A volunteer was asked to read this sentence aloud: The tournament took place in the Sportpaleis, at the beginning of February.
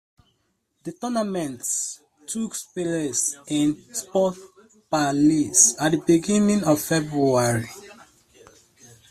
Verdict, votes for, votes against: rejected, 1, 2